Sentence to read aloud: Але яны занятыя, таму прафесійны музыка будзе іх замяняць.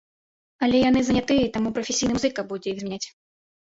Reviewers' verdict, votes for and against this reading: rejected, 0, 2